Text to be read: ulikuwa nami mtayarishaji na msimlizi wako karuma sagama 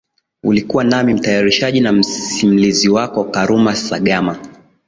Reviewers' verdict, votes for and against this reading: rejected, 1, 2